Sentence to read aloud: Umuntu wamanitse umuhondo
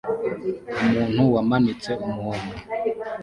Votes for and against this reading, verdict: 1, 2, rejected